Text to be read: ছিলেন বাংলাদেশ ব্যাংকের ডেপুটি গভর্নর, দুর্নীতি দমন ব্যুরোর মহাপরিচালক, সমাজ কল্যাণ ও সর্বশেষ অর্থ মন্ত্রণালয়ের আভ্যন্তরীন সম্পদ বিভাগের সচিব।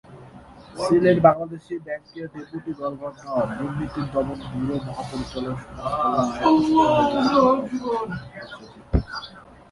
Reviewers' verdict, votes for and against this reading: rejected, 0, 2